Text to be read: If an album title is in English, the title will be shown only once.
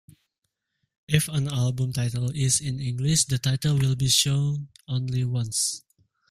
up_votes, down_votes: 2, 0